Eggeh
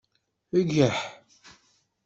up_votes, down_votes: 1, 2